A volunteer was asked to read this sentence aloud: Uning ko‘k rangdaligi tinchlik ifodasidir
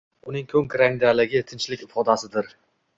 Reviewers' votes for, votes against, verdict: 2, 0, accepted